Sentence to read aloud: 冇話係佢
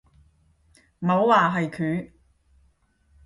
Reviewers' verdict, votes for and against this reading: accepted, 5, 0